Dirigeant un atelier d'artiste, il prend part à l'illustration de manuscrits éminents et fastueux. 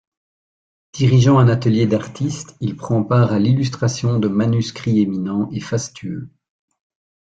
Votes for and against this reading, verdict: 2, 0, accepted